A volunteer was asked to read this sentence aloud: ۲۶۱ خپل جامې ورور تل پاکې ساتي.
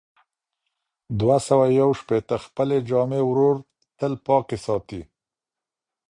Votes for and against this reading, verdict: 0, 2, rejected